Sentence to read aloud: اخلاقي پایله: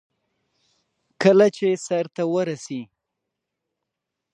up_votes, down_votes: 0, 2